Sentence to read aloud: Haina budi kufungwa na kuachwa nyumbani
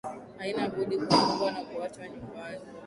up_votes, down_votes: 1, 2